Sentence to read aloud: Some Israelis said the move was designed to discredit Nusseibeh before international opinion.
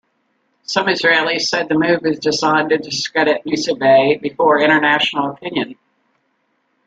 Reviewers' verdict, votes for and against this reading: rejected, 1, 2